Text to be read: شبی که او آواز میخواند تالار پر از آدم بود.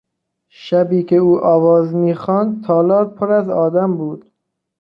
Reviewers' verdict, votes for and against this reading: accepted, 3, 0